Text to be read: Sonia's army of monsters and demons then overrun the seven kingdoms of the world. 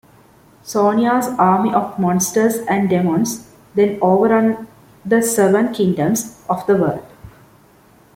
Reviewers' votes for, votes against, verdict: 2, 0, accepted